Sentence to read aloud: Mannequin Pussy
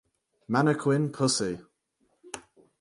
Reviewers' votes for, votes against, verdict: 4, 0, accepted